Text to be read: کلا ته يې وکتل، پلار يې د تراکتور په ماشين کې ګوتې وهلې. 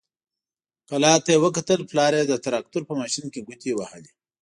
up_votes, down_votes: 2, 0